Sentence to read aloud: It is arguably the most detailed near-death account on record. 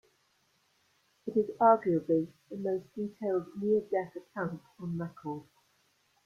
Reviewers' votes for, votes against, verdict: 2, 1, accepted